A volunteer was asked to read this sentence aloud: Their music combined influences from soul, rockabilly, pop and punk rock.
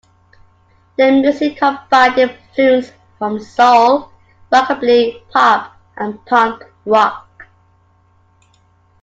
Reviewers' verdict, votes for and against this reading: accepted, 2, 0